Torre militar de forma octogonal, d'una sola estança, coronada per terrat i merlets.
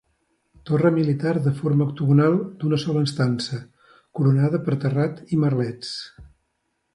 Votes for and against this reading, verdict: 2, 0, accepted